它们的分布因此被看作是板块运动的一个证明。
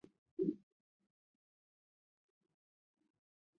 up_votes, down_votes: 1, 3